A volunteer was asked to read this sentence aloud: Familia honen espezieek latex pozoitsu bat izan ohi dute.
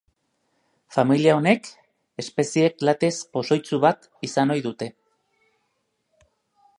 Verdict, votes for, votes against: rejected, 0, 2